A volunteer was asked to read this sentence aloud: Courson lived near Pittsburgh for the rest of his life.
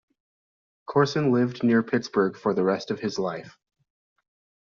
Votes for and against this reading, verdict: 2, 0, accepted